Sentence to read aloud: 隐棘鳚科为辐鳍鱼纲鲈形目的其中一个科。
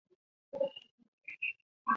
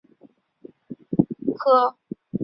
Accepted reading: second